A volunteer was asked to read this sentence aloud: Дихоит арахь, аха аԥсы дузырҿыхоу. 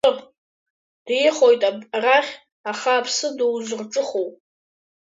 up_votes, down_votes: 2, 0